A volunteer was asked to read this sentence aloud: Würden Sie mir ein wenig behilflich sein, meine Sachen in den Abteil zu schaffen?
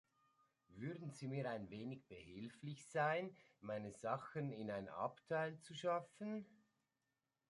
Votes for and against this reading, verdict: 0, 2, rejected